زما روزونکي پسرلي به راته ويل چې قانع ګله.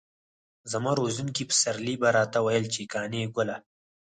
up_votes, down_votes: 2, 4